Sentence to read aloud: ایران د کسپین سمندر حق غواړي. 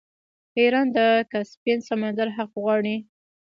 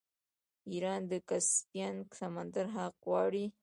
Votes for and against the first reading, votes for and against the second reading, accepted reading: 2, 0, 0, 2, first